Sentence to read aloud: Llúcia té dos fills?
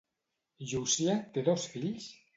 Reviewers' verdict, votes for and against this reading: accepted, 2, 0